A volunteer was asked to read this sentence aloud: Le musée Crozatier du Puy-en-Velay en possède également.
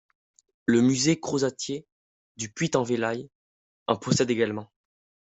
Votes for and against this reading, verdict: 1, 2, rejected